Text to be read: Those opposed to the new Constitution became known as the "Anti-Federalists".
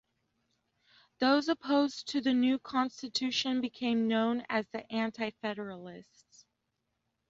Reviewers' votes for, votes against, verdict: 2, 0, accepted